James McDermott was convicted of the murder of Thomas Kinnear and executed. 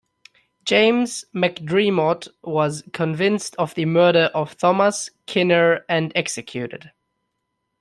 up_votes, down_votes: 0, 2